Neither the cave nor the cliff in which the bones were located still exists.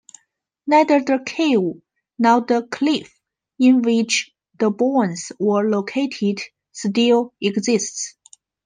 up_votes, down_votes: 0, 2